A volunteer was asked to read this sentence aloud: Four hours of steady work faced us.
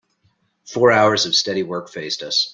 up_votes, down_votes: 2, 0